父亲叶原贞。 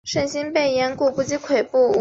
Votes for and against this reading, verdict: 1, 2, rejected